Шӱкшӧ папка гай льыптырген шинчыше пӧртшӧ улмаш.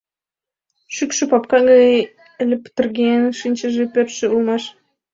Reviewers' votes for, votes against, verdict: 0, 2, rejected